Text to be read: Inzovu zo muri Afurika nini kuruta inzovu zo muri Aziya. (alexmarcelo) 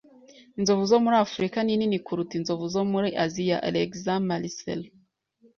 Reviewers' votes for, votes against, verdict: 2, 0, accepted